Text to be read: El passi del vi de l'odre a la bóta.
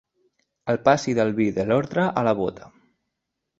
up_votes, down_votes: 2, 0